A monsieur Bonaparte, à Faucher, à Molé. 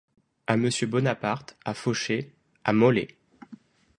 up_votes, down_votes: 2, 0